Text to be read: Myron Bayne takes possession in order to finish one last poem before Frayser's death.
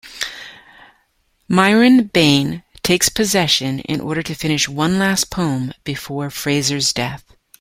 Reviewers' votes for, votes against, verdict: 1, 2, rejected